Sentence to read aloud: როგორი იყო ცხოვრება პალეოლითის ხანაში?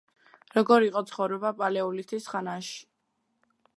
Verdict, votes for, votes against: rejected, 1, 2